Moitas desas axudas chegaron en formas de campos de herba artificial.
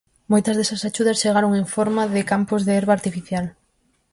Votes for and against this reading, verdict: 0, 4, rejected